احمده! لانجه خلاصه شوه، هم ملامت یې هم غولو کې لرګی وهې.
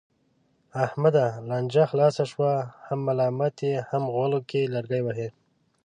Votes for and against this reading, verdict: 2, 0, accepted